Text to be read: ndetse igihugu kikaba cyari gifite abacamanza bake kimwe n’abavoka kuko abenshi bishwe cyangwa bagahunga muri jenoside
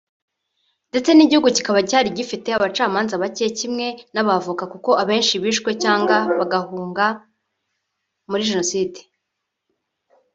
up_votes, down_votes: 1, 2